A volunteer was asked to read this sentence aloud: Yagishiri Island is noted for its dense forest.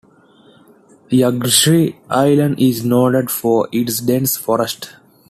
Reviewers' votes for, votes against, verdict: 2, 0, accepted